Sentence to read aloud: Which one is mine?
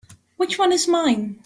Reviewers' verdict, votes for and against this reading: accepted, 3, 0